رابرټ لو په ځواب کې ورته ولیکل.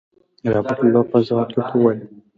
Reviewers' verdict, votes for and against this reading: accepted, 3, 0